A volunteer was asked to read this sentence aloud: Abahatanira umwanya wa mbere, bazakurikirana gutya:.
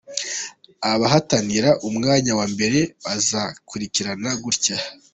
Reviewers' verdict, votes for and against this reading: accepted, 2, 0